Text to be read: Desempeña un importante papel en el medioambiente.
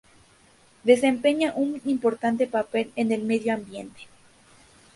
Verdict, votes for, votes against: accepted, 2, 0